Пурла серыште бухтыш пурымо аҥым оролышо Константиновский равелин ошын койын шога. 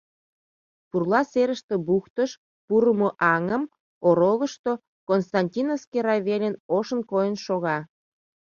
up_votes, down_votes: 1, 2